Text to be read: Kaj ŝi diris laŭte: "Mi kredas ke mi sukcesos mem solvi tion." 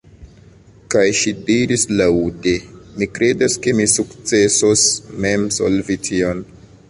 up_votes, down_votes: 2, 1